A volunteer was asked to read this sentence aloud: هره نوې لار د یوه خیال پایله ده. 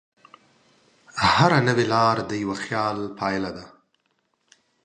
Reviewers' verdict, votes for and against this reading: accepted, 2, 0